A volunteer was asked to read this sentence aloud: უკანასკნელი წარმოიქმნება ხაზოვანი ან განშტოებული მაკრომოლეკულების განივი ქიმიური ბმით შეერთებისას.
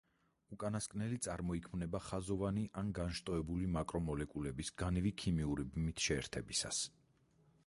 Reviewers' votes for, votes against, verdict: 2, 4, rejected